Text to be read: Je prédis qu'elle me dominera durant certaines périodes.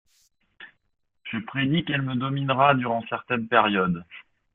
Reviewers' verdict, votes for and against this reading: rejected, 1, 2